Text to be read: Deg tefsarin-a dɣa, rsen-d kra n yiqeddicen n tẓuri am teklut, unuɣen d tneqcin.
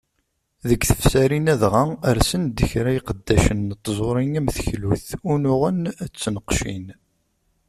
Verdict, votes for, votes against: rejected, 1, 2